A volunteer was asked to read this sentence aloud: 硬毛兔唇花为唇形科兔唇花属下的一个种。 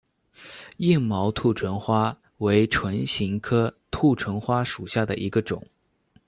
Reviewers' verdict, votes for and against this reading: accepted, 2, 0